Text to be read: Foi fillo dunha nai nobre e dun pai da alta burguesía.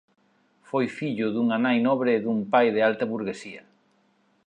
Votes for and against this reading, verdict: 2, 0, accepted